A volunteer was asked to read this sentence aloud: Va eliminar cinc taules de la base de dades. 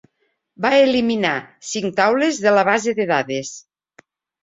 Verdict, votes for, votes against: accepted, 3, 0